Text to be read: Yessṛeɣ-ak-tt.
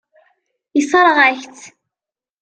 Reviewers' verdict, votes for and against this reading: accepted, 2, 0